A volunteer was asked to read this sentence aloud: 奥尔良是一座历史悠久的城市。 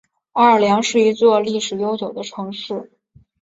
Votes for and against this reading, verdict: 7, 0, accepted